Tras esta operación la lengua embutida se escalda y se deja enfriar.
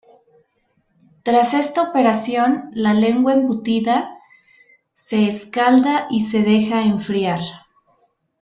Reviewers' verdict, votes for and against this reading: accepted, 2, 0